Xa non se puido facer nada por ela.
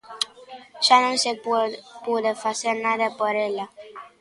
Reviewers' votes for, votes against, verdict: 0, 3, rejected